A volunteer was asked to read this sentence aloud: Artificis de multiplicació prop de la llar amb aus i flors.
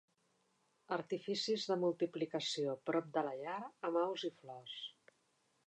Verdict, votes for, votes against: rejected, 1, 2